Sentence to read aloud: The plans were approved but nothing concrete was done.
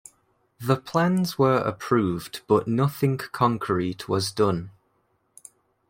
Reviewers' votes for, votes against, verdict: 2, 0, accepted